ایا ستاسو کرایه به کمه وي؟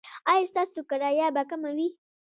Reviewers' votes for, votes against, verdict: 2, 0, accepted